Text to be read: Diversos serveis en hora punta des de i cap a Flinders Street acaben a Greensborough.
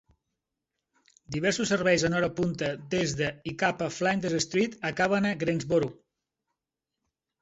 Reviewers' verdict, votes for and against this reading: accepted, 2, 1